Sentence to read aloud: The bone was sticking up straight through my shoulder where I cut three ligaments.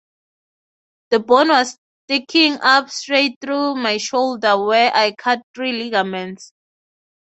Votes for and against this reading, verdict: 6, 0, accepted